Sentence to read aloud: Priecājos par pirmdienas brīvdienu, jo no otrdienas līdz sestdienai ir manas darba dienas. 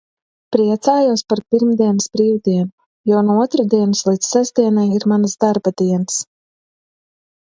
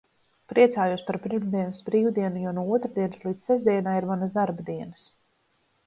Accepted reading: first